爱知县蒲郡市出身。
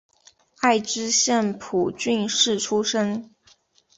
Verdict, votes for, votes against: accepted, 2, 0